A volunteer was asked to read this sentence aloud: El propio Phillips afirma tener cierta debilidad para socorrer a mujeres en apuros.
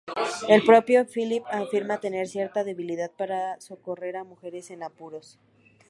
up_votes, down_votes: 2, 0